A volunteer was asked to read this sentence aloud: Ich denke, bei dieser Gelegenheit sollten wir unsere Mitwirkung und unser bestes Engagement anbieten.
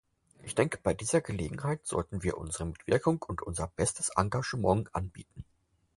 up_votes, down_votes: 4, 0